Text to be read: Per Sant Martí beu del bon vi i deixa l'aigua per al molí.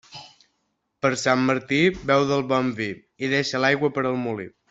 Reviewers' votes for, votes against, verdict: 3, 0, accepted